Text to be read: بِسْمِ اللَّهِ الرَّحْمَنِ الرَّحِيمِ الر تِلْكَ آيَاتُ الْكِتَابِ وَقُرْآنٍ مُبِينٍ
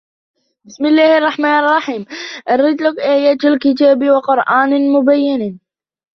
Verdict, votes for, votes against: accepted, 2, 0